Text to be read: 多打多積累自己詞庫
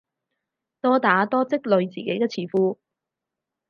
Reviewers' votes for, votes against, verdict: 0, 4, rejected